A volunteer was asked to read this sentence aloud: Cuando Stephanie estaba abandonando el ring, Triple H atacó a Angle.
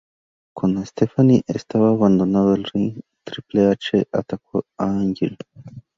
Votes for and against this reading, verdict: 0, 2, rejected